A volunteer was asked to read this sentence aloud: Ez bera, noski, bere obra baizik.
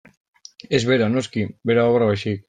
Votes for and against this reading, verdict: 0, 2, rejected